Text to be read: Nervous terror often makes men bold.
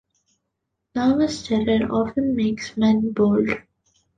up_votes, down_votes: 2, 1